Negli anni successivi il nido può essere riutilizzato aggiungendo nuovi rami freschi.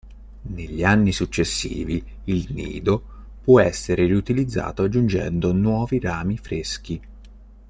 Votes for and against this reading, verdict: 2, 0, accepted